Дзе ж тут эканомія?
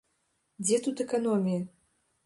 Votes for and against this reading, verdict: 0, 2, rejected